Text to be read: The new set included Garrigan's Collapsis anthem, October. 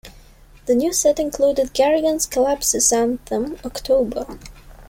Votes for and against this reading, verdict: 2, 0, accepted